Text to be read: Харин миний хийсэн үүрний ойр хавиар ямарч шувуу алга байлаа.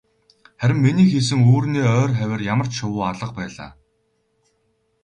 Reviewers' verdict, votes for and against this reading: accepted, 4, 0